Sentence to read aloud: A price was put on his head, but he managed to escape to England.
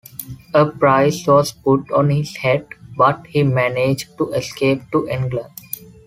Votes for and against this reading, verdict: 2, 0, accepted